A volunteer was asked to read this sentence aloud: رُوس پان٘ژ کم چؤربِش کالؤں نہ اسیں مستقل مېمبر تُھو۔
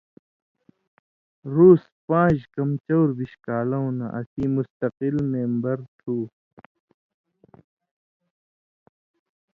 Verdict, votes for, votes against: accepted, 2, 0